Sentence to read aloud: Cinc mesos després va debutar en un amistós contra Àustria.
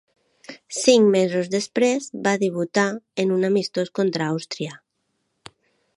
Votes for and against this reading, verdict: 2, 0, accepted